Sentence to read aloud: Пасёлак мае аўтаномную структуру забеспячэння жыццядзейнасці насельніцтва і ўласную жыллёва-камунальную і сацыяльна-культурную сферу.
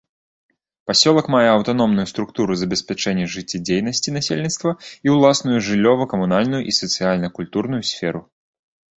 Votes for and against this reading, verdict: 2, 0, accepted